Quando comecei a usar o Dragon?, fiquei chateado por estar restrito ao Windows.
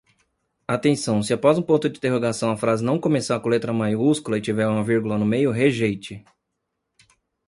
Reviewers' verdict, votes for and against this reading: rejected, 0, 2